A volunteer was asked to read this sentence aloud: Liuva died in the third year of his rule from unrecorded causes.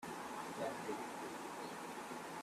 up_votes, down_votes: 0, 2